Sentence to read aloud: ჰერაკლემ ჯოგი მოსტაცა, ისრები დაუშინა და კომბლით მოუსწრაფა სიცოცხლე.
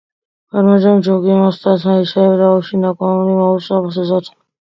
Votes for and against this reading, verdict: 0, 3, rejected